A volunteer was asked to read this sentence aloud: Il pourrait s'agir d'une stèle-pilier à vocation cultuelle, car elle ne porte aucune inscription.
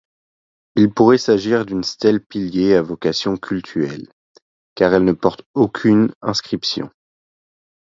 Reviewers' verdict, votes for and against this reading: accepted, 2, 0